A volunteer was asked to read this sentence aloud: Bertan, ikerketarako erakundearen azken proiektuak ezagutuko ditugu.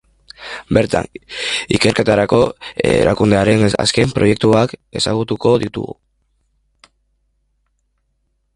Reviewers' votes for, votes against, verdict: 1, 2, rejected